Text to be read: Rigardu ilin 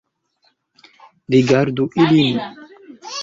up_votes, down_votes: 2, 0